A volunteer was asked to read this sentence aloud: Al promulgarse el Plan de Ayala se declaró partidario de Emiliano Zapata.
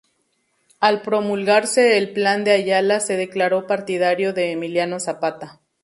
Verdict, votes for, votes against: accepted, 2, 0